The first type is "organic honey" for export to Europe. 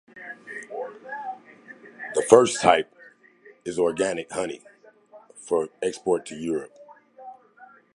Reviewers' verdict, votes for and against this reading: accepted, 2, 1